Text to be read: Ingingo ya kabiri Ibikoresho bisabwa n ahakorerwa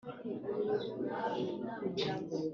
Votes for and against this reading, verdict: 0, 2, rejected